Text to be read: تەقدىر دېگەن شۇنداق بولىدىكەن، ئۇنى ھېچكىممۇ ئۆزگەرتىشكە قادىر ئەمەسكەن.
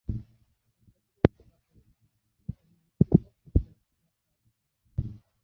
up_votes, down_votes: 0, 2